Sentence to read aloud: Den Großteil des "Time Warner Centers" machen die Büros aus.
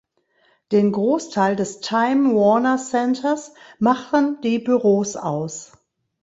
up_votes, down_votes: 2, 0